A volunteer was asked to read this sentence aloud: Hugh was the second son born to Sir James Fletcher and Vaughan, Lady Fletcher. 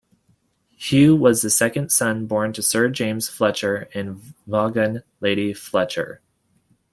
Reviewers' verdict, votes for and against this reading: rejected, 1, 2